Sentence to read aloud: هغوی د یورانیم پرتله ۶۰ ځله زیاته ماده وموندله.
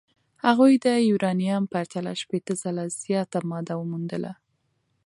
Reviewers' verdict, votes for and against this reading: rejected, 0, 2